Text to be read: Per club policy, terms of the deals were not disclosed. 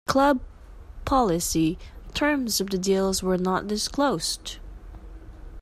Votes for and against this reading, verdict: 1, 2, rejected